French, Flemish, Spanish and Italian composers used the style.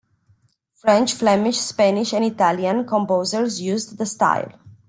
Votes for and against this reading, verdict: 2, 0, accepted